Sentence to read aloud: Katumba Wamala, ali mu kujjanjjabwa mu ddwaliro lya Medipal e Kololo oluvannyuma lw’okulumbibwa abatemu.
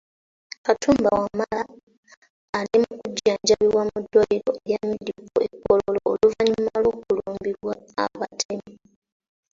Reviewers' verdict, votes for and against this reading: accepted, 2, 1